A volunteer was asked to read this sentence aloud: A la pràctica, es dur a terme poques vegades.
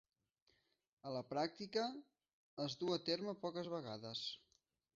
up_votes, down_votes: 1, 2